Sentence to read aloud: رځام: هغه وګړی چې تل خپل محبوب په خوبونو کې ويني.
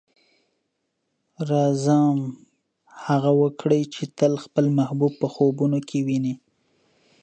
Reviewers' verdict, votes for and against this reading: rejected, 0, 2